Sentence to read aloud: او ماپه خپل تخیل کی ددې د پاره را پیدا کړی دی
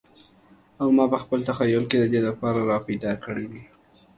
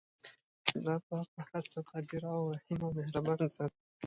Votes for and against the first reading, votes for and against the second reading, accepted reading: 2, 0, 1, 2, first